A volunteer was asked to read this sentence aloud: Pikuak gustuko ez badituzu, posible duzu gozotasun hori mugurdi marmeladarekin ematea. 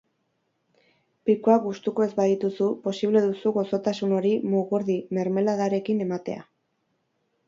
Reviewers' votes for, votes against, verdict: 2, 4, rejected